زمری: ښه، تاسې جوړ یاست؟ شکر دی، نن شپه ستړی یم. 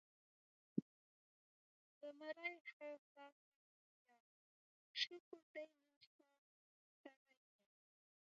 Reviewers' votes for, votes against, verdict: 0, 2, rejected